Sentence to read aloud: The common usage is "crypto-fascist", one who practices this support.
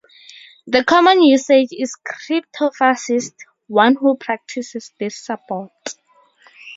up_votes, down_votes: 2, 0